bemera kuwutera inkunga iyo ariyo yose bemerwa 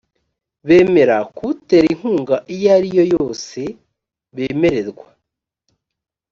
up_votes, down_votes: 0, 2